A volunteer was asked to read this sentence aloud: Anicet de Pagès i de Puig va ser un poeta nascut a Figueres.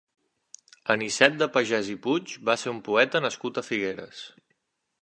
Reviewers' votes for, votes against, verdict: 2, 0, accepted